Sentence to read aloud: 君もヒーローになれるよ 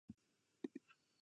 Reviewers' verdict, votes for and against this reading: rejected, 0, 2